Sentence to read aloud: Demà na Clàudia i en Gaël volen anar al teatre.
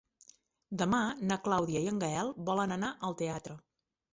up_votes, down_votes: 3, 0